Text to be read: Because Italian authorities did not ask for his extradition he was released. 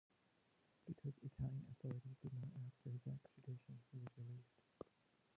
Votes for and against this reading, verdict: 0, 2, rejected